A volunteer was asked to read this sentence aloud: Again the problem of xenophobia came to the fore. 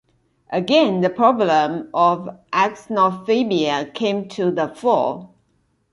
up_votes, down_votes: 1, 2